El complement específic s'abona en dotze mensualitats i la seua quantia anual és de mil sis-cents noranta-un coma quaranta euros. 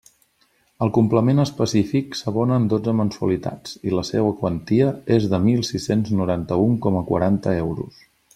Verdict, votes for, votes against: rejected, 1, 2